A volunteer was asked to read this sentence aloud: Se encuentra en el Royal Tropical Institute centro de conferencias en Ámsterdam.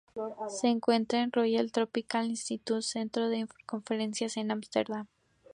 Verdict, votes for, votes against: accepted, 2, 0